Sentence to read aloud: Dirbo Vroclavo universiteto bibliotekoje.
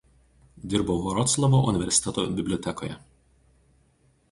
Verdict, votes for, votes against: accepted, 2, 0